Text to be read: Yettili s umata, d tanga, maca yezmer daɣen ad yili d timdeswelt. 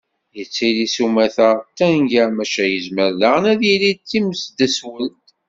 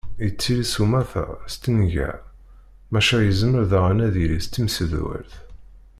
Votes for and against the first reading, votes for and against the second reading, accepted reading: 2, 0, 0, 2, first